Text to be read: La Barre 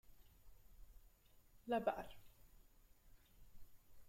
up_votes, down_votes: 5, 3